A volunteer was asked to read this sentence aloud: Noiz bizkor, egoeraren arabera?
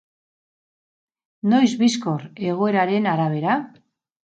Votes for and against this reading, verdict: 4, 0, accepted